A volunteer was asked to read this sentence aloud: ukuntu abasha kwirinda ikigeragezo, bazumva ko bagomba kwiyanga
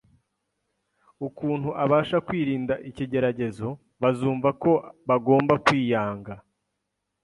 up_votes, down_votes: 2, 0